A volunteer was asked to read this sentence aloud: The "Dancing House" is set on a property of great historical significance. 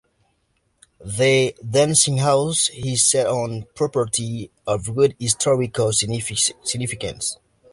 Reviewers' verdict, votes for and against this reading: accepted, 2, 1